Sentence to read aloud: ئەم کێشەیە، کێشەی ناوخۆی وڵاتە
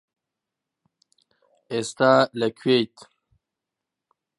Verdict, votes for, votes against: rejected, 0, 2